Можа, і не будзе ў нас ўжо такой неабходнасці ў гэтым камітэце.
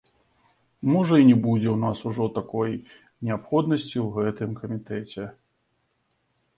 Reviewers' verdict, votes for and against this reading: accepted, 2, 1